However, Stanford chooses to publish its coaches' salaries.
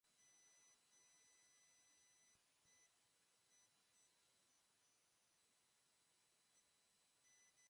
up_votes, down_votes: 0, 2